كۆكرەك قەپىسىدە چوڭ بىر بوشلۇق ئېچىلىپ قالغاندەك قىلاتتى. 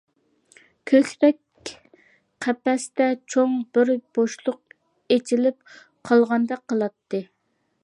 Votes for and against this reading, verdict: 0, 2, rejected